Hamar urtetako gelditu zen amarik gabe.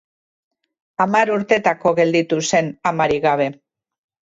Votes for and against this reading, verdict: 2, 0, accepted